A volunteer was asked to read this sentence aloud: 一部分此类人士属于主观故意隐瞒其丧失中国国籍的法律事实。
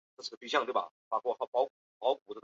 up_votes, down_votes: 0, 2